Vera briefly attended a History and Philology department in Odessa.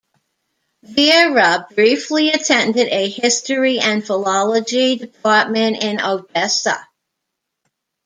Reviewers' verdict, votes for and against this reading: accepted, 2, 0